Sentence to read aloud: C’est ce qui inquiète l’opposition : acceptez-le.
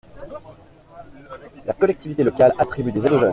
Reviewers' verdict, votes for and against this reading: rejected, 0, 2